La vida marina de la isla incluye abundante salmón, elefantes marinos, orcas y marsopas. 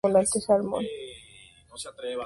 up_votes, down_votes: 0, 4